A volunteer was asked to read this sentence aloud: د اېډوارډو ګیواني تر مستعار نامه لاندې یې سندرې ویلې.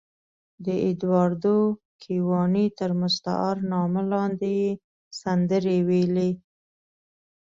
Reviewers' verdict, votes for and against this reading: accepted, 2, 0